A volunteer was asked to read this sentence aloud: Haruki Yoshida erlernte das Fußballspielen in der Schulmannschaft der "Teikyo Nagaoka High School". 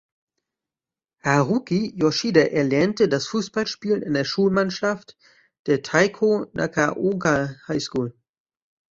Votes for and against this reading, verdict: 1, 2, rejected